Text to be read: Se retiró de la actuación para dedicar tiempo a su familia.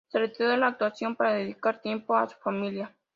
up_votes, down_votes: 2, 0